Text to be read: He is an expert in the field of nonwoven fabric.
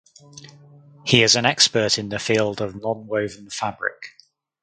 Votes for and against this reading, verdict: 4, 0, accepted